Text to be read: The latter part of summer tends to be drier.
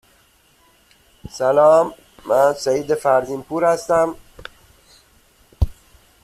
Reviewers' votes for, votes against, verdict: 0, 2, rejected